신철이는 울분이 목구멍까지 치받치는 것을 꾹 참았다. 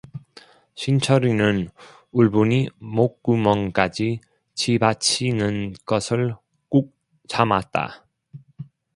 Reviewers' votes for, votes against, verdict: 1, 2, rejected